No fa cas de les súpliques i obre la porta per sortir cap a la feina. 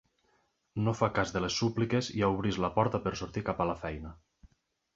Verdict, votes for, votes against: rejected, 0, 2